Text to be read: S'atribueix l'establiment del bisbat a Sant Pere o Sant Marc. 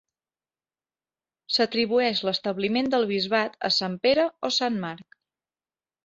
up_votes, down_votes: 2, 0